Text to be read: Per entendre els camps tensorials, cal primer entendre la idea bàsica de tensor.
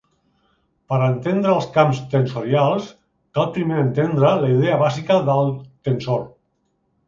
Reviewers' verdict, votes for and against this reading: rejected, 0, 2